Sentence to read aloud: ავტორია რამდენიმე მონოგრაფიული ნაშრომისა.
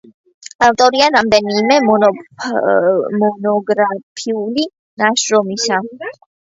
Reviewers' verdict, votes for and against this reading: rejected, 0, 2